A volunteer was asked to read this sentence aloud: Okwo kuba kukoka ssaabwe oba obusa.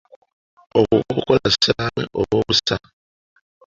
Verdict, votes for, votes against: rejected, 0, 2